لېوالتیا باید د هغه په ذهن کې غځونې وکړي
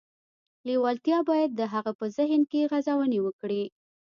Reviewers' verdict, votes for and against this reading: rejected, 1, 2